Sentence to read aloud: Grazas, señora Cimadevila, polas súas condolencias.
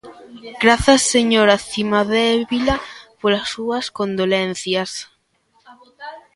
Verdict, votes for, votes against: rejected, 1, 2